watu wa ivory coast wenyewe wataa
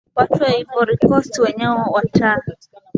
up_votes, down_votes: 2, 0